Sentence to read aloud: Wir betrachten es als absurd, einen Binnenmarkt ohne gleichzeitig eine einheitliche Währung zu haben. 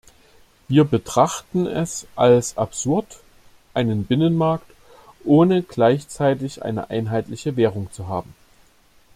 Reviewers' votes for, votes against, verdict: 2, 0, accepted